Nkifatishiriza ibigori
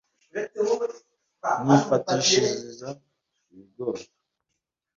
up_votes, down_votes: 1, 2